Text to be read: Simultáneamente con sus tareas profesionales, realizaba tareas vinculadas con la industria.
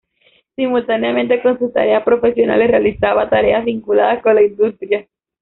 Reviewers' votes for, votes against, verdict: 1, 2, rejected